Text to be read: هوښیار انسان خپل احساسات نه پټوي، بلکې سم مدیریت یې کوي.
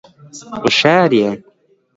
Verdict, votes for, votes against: rejected, 0, 3